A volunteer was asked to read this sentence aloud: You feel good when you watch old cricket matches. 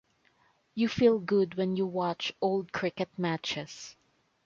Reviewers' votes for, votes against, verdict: 2, 0, accepted